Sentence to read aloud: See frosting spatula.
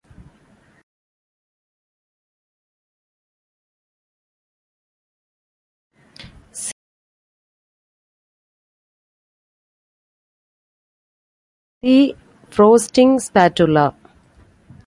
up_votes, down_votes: 0, 2